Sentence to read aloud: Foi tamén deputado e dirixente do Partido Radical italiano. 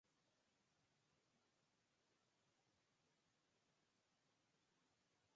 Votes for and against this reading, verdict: 0, 4, rejected